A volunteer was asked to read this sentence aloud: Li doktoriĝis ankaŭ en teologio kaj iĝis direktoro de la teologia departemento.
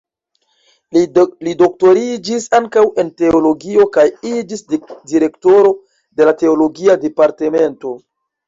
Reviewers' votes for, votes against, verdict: 2, 1, accepted